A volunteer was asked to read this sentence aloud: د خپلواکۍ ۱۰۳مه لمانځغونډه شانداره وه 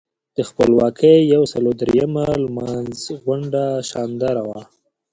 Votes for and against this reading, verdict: 0, 2, rejected